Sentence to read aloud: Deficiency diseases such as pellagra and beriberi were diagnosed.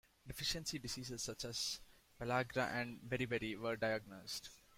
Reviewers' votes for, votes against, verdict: 2, 0, accepted